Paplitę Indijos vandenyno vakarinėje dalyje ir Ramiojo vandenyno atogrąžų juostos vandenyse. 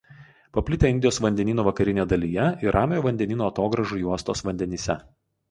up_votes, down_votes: 2, 2